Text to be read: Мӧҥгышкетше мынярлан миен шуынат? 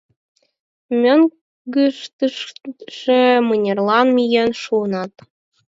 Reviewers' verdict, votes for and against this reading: rejected, 2, 4